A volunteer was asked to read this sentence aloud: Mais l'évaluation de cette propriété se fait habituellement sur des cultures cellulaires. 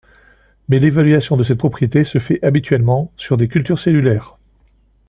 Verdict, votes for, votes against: accepted, 2, 0